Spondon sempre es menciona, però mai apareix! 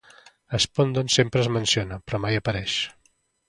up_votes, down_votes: 2, 0